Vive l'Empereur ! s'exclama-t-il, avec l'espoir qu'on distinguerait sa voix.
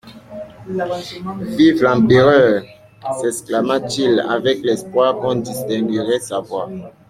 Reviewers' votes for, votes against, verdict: 2, 0, accepted